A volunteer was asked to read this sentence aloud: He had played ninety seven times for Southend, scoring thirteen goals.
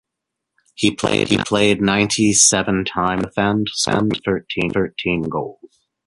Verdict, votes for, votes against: rejected, 0, 2